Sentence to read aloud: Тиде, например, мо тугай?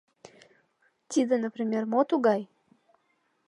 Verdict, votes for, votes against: accepted, 2, 0